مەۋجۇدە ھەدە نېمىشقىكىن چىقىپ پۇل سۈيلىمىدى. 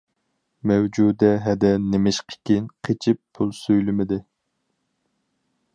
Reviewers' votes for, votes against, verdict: 0, 4, rejected